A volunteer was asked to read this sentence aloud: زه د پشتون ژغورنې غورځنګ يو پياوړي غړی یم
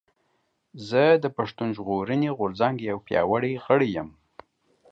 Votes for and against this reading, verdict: 2, 0, accepted